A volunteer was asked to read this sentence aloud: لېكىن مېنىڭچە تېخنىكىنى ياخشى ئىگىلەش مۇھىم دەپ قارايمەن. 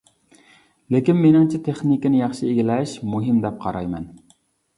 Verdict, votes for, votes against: accepted, 2, 0